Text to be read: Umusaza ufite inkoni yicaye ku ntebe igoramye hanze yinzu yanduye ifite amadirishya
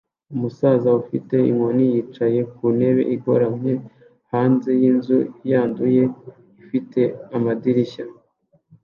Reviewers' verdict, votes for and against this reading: accepted, 2, 0